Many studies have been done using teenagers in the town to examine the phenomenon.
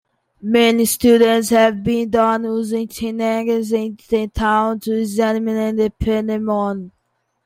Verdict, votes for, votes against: rejected, 0, 2